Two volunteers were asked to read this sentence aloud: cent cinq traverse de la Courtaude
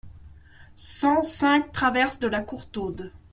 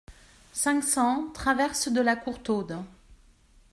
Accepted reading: first